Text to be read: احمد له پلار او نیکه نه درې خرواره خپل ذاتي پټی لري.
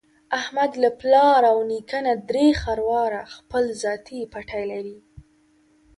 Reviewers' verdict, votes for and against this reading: rejected, 1, 2